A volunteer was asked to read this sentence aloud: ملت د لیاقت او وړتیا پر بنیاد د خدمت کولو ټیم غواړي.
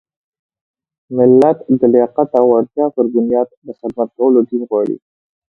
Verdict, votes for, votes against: accepted, 4, 2